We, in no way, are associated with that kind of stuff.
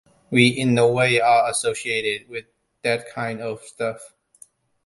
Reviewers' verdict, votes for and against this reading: accepted, 2, 1